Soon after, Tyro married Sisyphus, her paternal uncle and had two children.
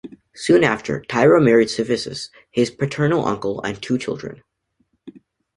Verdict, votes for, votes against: rejected, 1, 2